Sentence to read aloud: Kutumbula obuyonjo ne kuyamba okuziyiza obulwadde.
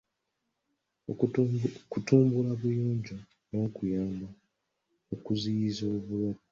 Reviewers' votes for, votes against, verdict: 1, 2, rejected